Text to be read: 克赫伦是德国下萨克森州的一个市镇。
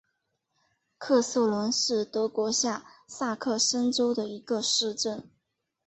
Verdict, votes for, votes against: rejected, 0, 2